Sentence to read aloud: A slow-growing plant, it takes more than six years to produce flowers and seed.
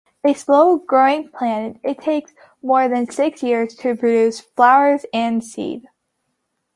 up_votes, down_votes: 2, 0